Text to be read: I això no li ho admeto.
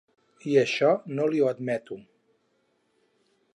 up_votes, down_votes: 4, 0